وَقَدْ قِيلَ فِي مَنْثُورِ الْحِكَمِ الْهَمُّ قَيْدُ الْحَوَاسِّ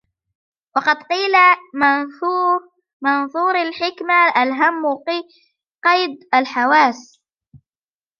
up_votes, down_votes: 0, 2